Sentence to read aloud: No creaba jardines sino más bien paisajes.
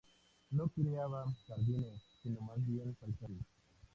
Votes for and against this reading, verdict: 0, 2, rejected